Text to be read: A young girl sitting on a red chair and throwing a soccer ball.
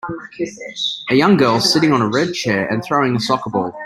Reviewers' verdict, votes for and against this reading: rejected, 1, 2